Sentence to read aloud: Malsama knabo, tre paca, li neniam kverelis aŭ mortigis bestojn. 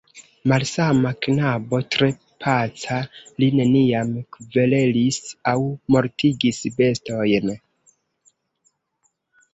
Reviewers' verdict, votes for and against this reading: accepted, 2, 0